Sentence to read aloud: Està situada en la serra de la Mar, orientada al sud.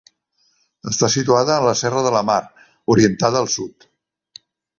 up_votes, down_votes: 3, 0